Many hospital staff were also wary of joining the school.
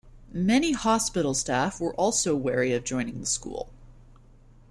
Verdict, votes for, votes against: accepted, 2, 0